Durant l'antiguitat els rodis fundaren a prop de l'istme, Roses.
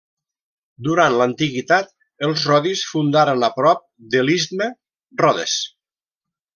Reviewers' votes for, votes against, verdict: 0, 2, rejected